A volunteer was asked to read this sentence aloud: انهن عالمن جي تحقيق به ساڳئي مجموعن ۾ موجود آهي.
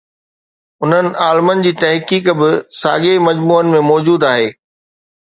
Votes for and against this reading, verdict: 2, 0, accepted